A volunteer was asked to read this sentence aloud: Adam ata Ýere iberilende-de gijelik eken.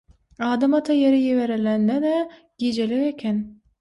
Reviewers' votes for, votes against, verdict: 3, 6, rejected